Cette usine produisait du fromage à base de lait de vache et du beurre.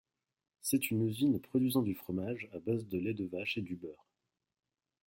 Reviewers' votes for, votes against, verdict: 0, 2, rejected